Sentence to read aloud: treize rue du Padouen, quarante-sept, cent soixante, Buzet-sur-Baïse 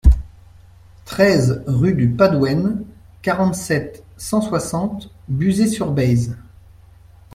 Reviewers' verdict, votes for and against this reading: rejected, 1, 2